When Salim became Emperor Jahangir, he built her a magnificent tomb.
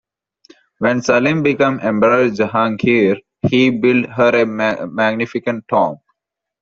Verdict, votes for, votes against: rejected, 0, 2